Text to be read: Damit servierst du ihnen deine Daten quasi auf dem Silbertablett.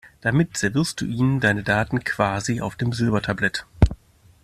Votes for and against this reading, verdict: 2, 0, accepted